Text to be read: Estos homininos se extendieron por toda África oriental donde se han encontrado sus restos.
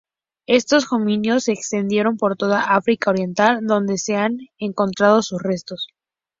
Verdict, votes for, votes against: rejected, 0, 4